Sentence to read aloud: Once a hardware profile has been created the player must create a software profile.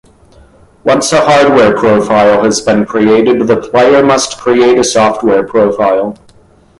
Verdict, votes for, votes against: accepted, 2, 0